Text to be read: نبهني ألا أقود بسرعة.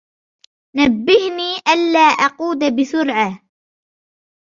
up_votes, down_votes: 2, 0